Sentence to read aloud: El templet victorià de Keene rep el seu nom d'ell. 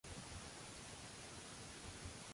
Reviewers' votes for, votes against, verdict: 0, 2, rejected